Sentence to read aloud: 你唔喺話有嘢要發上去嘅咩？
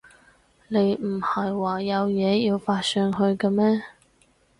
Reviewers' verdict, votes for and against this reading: rejected, 0, 2